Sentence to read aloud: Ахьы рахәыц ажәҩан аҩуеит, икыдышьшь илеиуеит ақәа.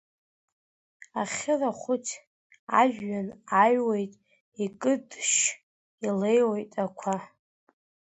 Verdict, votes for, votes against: rejected, 1, 2